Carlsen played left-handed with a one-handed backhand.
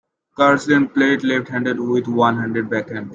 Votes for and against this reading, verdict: 2, 0, accepted